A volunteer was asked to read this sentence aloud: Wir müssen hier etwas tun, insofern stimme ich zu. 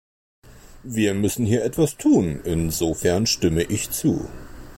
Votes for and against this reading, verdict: 2, 0, accepted